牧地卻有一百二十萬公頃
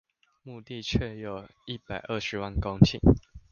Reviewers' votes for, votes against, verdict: 2, 0, accepted